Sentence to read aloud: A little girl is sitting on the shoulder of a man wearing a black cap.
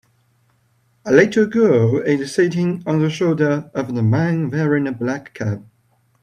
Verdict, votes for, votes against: rejected, 1, 2